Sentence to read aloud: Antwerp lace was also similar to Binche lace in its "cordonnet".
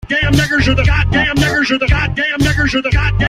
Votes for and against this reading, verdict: 0, 2, rejected